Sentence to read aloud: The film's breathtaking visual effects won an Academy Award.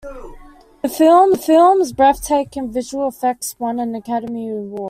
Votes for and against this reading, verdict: 1, 2, rejected